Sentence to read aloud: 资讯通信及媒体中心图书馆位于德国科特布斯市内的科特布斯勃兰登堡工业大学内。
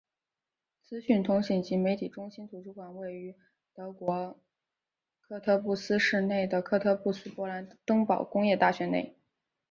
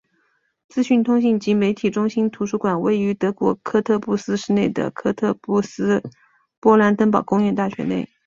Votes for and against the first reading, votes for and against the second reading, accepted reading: 0, 2, 2, 1, second